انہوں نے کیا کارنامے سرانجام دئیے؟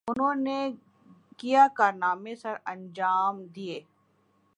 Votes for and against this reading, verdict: 1, 2, rejected